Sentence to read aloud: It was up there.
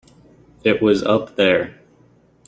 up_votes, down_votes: 3, 0